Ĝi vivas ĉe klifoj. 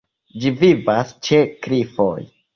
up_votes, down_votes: 2, 0